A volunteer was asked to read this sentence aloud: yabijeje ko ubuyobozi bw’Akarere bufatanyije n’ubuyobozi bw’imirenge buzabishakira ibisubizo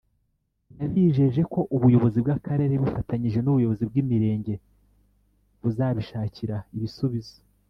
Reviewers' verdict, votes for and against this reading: accepted, 2, 0